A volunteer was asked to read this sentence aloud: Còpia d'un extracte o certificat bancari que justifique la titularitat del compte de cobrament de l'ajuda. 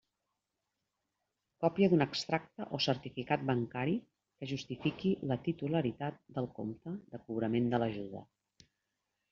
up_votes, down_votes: 2, 1